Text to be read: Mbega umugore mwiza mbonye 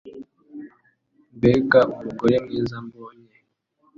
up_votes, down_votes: 2, 0